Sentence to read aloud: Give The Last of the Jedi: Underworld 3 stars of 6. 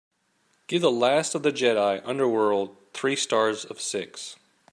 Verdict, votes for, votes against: rejected, 0, 2